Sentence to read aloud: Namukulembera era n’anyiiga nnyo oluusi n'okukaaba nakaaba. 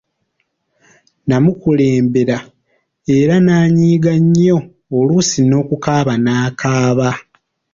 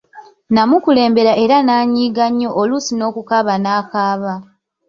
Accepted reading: first